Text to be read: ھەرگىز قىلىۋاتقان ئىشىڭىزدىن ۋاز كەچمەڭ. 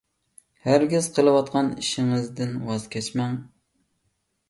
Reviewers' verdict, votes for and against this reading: accepted, 2, 0